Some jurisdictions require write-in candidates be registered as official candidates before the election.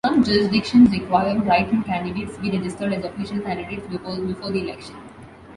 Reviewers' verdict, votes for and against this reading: accepted, 2, 1